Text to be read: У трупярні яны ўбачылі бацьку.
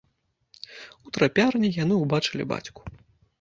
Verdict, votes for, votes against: rejected, 0, 2